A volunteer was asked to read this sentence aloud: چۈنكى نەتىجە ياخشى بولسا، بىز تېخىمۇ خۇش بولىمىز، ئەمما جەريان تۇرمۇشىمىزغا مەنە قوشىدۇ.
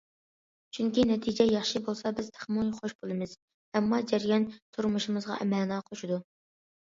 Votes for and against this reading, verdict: 2, 0, accepted